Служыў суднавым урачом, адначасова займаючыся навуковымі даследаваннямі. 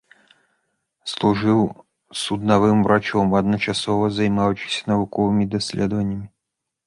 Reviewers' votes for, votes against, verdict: 1, 2, rejected